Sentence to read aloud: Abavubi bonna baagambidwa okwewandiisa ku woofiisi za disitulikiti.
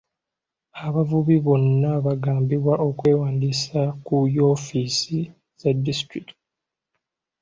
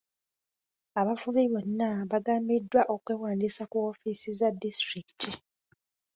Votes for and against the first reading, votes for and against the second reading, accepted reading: 1, 2, 2, 0, second